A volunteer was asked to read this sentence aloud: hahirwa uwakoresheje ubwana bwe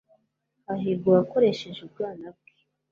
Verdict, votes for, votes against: accepted, 2, 0